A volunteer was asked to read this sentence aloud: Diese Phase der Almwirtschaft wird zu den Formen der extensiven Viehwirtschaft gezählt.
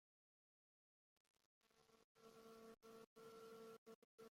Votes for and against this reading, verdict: 0, 2, rejected